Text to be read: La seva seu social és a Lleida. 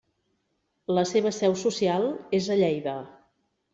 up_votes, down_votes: 3, 0